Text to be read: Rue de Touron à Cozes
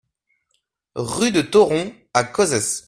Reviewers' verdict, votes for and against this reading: rejected, 0, 2